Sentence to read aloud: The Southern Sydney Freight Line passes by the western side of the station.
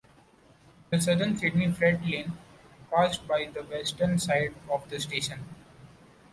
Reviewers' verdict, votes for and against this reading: rejected, 1, 2